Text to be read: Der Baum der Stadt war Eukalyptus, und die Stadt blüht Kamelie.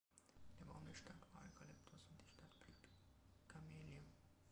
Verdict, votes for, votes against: rejected, 0, 2